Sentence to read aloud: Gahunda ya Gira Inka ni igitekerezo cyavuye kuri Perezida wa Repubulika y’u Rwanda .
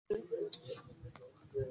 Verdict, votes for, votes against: rejected, 0, 2